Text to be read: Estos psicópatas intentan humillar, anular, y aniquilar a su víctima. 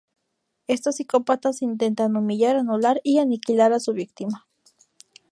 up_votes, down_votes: 2, 0